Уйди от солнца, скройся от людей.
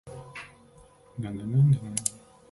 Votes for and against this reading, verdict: 0, 2, rejected